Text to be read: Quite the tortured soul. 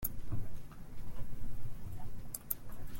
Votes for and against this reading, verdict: 0, 2, rejected